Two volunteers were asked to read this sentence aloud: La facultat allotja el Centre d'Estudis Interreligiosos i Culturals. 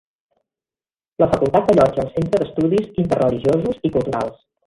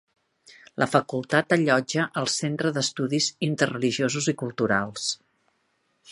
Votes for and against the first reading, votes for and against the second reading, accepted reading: 1, 2, 2, 0, second